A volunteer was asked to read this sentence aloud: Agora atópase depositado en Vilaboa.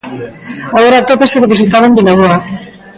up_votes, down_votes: 1, 2